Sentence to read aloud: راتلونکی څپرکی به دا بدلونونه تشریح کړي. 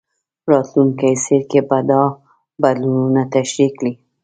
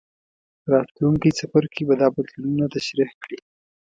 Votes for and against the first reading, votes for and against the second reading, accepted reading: 1, 2, 2, 1, second